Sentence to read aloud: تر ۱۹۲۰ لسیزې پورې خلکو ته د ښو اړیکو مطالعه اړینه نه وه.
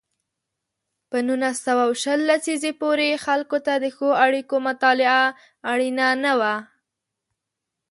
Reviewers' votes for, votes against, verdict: 0, 2, rejected